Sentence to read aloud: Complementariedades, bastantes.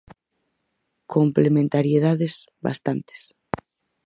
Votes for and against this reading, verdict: 4, 0, accepted